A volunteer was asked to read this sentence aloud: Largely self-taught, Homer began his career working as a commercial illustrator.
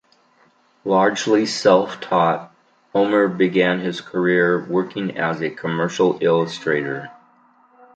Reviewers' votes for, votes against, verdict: 2, 0, accepted